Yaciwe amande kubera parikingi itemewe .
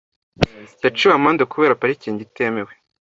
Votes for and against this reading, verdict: 2, 0, accepted